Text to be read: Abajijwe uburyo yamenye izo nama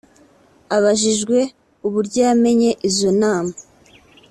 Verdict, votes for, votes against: accepted, 3, 0